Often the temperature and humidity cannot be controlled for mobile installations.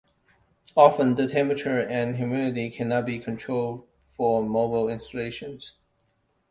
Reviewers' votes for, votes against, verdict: 2, 0, accepted